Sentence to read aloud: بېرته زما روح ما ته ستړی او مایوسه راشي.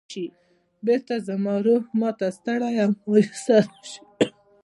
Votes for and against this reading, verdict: 2, 0, accepted